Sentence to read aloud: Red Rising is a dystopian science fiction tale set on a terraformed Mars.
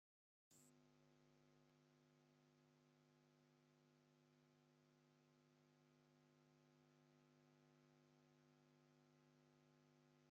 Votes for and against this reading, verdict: 0, 2, rejected